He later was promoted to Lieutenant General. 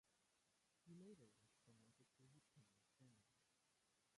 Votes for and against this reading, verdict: 0, 2, rejected